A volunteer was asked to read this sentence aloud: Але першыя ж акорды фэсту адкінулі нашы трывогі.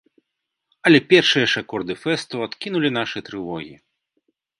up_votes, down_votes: 2, 0